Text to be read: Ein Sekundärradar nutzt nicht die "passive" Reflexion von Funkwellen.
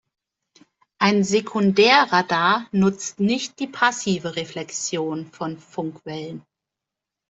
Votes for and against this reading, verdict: 2, 0, accepted